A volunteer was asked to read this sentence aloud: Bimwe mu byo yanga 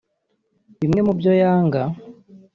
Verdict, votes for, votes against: accepted, 2, 0